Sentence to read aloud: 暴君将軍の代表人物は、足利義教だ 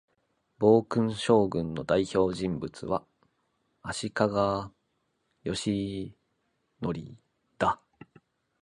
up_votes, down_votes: 0, 2